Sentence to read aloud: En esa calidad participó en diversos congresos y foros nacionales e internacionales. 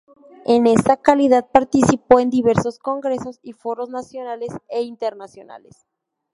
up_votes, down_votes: 0, 2